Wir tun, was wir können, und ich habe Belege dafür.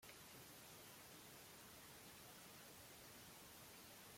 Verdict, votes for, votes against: rejected, 0, 2